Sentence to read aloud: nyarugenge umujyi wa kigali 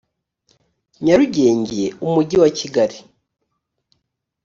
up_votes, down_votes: 2, 0